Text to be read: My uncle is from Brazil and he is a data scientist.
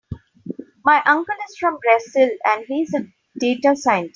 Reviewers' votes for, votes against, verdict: 0, 2, rejected